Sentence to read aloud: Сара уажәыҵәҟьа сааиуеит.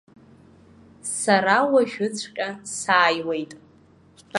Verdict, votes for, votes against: rejected, 0, 2